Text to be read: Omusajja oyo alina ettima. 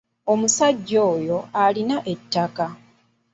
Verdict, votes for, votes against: rejected, 0, 2